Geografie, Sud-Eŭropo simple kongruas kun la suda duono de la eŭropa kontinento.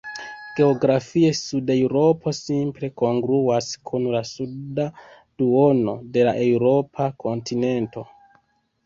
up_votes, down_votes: 2, 1